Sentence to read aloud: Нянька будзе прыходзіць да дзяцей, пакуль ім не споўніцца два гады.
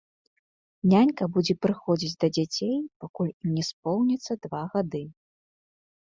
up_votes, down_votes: 0, 2